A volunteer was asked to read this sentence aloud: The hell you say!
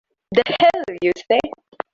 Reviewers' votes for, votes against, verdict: 0, 2, rejected